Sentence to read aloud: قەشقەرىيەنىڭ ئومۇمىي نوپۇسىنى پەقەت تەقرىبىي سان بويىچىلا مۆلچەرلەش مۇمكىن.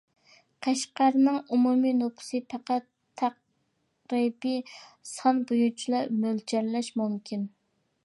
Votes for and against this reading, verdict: 0, 2, rejected